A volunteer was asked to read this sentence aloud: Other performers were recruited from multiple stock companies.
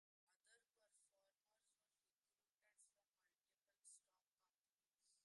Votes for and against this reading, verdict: 0, 2, rejected